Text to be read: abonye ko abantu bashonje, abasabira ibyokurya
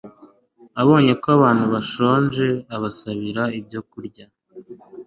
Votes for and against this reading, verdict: 2, 0, accepted